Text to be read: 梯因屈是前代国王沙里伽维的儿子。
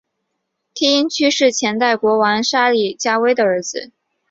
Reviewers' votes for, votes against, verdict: 8, 0, accepted